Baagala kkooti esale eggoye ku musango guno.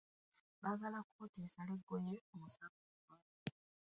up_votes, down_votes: 1, 2